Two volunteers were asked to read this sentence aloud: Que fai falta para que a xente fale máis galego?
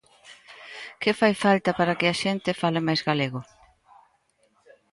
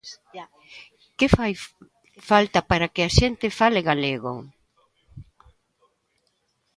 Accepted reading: first